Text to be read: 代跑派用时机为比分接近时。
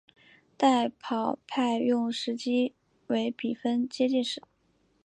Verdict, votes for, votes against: accepted, 5, 0